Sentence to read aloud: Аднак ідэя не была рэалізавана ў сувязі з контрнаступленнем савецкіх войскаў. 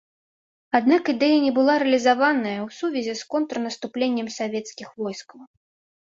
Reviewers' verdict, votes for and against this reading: accepted, 2, 0